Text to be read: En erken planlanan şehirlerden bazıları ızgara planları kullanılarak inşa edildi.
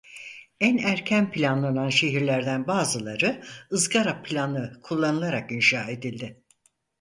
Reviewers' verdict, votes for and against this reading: rejected, 0, 4